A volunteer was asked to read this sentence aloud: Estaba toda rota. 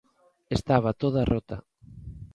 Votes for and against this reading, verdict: 2, 0, accepted